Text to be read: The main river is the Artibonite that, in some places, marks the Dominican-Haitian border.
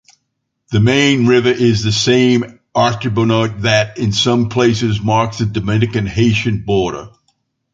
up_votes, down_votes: 1, 2